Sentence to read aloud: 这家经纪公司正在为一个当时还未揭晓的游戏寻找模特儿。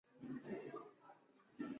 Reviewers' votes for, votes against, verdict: 0, 2, rejected